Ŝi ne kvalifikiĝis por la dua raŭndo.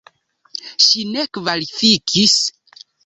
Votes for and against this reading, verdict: 1, 2, rejected